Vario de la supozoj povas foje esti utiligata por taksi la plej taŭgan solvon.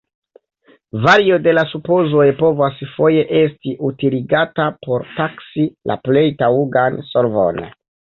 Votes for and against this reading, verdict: 1, 2, rejected